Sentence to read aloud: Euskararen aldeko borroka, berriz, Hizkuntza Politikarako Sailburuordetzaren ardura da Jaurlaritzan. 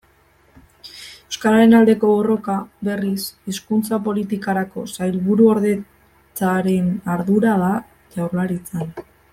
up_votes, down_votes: 1, 2